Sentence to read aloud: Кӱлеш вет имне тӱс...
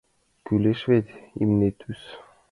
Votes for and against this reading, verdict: 2, 0, accepted